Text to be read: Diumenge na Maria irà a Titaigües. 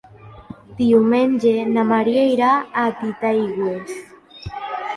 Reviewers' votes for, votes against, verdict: 2, 1, accepted